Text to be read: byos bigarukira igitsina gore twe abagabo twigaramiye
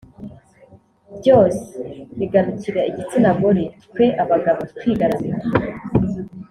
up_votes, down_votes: 0, 2